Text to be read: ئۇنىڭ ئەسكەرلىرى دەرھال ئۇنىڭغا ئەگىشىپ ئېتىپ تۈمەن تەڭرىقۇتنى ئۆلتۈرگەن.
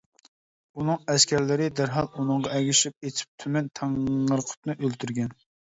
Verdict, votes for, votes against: rejected, 0, 2